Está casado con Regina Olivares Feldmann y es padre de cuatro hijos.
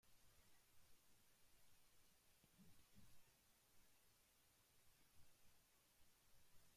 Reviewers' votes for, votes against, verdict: 0, 2, rejected